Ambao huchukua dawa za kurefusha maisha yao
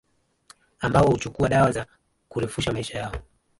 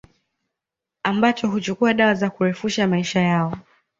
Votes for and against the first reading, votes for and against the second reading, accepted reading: 2, 1, 1, 2, first